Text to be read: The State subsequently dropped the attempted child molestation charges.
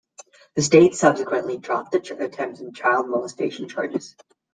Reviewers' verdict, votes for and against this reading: rejected, 0, 2